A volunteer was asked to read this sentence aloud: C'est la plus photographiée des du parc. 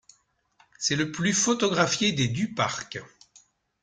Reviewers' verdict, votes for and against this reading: rejected, 1, 2